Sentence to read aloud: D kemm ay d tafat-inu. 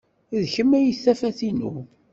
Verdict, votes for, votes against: rejected, 1, 2